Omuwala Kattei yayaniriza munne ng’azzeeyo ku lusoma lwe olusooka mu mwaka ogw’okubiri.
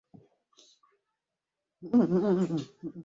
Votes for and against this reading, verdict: 0, 3, rejected